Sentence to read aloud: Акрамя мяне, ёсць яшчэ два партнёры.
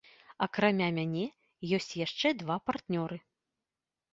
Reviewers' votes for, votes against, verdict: 2, 0, accepted